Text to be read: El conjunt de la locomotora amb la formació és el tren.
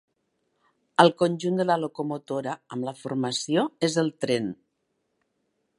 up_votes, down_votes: 3, 0